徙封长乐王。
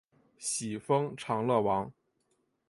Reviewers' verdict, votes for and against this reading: accepted, 5, 1